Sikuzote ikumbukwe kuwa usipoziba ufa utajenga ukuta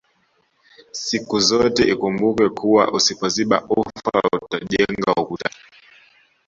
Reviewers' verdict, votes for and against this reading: accepted, 2, 0